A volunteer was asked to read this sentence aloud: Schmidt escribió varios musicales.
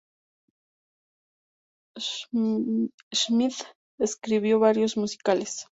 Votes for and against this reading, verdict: 2, 2, rejected